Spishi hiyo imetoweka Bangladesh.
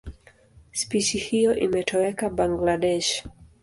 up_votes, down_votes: 2, 0